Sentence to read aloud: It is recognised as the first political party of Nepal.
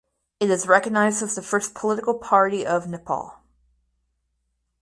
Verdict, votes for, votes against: accepted, 4, 0